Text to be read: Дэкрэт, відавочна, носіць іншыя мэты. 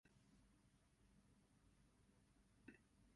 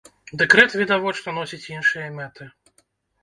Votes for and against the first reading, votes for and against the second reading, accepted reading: 0, 3, 2, 0, second